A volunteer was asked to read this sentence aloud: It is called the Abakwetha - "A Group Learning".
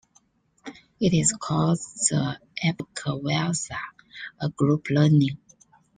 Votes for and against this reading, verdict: 0, 2, rejected